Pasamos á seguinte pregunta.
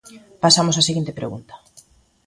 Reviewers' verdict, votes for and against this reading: accepted, 2, 0